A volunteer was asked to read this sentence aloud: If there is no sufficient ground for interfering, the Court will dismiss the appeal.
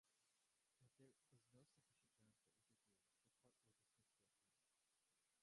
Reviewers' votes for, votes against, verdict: 0, 2, rejected